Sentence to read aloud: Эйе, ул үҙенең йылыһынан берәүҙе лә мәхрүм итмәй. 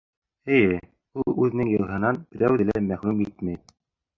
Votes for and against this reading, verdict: 3, 2, accepted